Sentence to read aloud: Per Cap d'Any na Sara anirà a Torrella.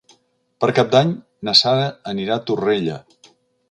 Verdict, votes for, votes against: accepted, 4, 0